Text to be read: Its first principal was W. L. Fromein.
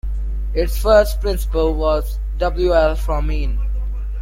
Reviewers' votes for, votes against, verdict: 2, 0, accepted